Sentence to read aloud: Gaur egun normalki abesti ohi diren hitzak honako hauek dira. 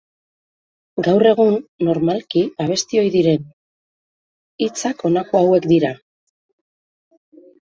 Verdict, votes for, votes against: rejected, 0, 2